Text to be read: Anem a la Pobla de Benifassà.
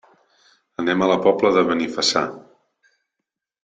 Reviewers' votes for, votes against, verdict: 3, 0, accepted